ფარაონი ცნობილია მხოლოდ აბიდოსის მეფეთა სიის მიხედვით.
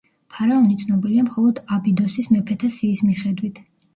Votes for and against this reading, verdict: 1, 2, rejected